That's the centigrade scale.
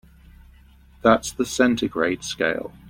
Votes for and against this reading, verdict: 2, 0, accepted